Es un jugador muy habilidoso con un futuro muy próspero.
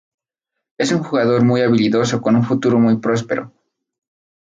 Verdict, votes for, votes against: accepted, 4, 0